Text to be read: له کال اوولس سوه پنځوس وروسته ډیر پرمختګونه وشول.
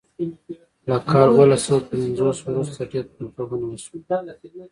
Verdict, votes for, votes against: rejected, 0, 2